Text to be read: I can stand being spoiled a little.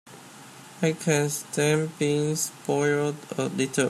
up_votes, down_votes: 2, 0